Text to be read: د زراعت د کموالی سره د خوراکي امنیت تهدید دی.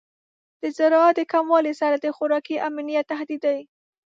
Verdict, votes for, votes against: rejected, 0, 2